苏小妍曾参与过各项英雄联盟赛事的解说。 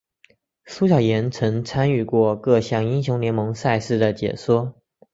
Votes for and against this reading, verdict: 2, 0, accepted